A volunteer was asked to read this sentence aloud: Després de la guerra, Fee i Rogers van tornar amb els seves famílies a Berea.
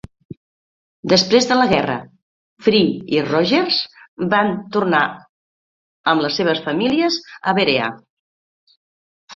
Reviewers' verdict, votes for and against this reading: accepted, 2, 1